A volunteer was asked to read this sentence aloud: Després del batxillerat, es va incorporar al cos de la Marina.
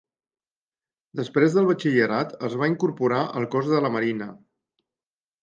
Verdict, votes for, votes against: accepted, 4, 0